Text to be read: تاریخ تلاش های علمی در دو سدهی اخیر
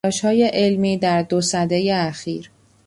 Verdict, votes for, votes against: rejected, 0, 2